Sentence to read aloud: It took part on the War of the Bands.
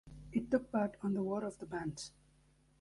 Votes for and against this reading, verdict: 1, 2, rejected